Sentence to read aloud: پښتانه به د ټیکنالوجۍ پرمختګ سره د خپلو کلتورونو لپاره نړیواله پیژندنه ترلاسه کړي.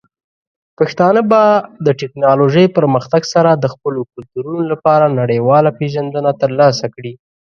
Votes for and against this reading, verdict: 2, 0, accepted